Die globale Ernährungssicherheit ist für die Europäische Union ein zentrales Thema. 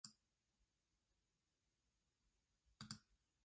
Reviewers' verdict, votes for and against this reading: rejected, 0, 2